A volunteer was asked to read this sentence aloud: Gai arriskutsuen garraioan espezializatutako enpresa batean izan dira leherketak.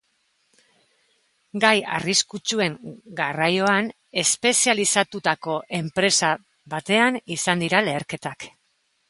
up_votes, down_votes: 2, 0